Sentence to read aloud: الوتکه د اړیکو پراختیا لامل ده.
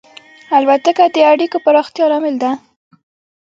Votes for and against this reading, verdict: 1, 2, rejected